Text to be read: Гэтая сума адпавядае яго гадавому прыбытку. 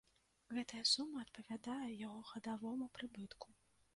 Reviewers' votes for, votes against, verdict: 2, 0, accepted